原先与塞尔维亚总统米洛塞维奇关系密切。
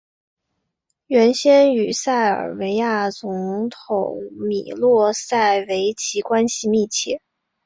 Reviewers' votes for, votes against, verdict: 4, 1, accepted